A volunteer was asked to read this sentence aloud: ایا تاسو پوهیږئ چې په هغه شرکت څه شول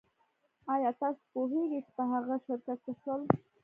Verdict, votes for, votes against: accepted, 2, 1